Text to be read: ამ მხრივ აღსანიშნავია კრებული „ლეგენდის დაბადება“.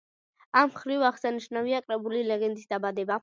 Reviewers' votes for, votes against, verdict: 2, 0, accepted